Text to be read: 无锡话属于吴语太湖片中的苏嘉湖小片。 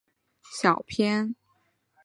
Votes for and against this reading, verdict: 0, 2, rejected